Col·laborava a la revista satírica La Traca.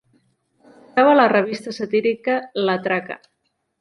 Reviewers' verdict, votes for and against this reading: rejected, 0, 2